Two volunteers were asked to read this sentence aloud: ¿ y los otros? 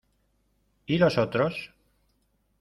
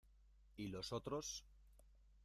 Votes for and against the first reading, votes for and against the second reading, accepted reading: 2, 0, 0, 2, first